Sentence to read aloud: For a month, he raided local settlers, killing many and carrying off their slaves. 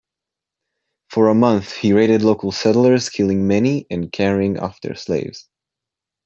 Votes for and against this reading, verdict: 2, 0, accepted